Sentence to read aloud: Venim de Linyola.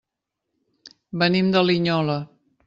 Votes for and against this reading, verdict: 3, 0, accepted